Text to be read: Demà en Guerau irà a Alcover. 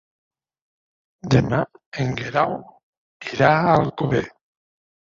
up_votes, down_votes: 1, 2